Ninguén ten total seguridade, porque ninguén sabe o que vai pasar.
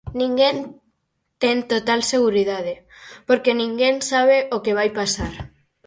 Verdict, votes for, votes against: accepted, 4, 0